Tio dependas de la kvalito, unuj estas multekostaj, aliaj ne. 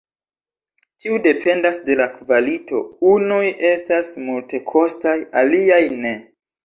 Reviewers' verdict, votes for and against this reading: rejected, 1, 2